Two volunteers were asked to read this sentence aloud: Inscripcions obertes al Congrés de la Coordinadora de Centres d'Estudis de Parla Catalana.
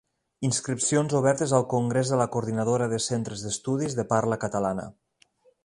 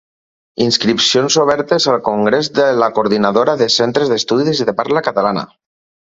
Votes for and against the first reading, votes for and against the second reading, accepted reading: 2, 0, 2, 4, first